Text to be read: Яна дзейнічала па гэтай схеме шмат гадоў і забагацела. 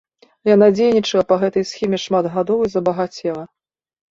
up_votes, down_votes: 2, 0